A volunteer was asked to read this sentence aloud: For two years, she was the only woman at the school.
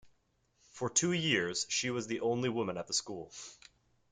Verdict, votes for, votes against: accepted, 2, 0